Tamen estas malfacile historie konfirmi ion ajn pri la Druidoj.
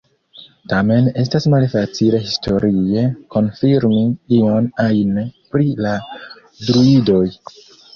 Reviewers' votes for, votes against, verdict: 2, 1, accepted